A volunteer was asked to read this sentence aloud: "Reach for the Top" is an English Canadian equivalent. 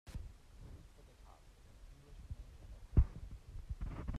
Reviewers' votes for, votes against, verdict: 0, 2, rejected